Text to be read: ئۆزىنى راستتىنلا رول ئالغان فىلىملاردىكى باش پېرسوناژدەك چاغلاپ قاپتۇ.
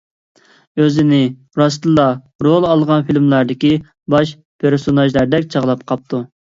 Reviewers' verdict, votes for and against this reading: accepted, 2, 0